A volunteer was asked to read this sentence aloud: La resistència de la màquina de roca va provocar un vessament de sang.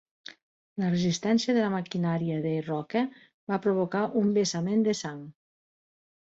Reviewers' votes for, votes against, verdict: 1, 2, rejected